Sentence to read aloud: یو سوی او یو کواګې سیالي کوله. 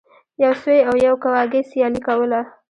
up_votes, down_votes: 1, 2